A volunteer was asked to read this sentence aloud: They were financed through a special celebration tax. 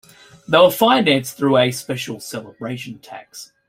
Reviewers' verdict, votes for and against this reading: rejected, 0, 2